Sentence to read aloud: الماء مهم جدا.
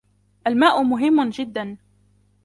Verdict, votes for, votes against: rejected, 1, 2